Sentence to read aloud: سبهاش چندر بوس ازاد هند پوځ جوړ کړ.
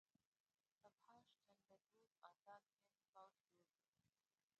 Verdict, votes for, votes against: rejected, 0, 2